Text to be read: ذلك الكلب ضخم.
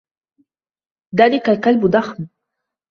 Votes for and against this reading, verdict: 1, 2, rejected